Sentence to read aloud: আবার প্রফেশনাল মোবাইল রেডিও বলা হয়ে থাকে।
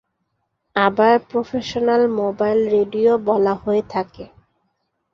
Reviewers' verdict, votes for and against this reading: accepted, 3, 0